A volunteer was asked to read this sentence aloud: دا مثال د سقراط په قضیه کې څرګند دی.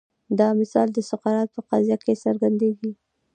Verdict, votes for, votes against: accepted, 2, 0